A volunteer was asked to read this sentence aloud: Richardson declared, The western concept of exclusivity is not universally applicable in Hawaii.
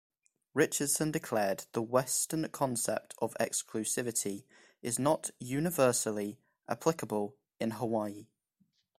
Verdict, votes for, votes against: accepted, 2, 0